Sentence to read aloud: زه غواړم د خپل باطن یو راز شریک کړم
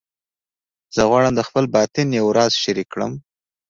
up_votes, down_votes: 2, 0